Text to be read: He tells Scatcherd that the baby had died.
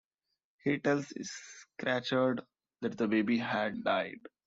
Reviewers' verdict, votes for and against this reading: rejected, 0, 2